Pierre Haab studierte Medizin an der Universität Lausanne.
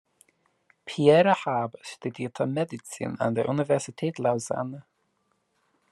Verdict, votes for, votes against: rejected, 1, 2